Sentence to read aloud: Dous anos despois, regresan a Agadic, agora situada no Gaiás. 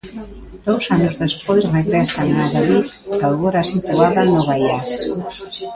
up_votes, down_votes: 0, 2